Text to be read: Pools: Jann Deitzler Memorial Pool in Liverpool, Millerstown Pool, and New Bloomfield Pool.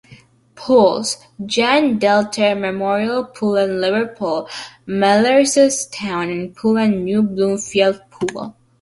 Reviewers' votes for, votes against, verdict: 1, 2, rejected